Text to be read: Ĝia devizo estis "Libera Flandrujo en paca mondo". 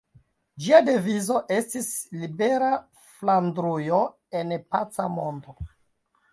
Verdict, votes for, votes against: rejected, 0, 2